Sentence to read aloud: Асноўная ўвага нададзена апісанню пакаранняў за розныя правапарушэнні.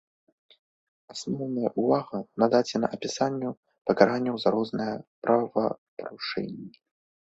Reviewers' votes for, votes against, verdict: 0, 2, rejected